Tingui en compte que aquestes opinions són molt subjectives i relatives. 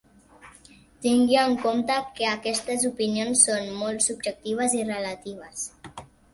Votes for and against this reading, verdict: 2, 0, accepted